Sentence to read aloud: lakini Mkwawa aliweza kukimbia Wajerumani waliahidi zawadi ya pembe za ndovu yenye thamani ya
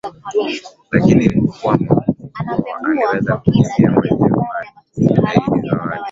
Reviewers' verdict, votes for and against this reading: rejected, 0, 2